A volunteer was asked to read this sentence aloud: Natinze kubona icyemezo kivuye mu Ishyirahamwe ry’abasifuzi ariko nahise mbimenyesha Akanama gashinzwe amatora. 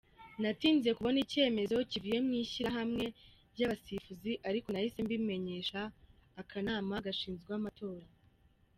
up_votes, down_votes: 2, 0